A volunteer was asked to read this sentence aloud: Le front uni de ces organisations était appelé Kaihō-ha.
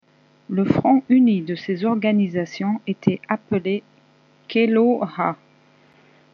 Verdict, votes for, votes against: rejected, 0, 2